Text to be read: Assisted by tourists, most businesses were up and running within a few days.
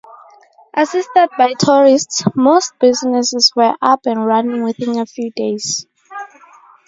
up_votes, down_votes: 4, 0